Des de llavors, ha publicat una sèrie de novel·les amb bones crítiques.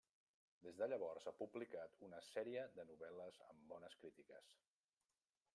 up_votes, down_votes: 0, 2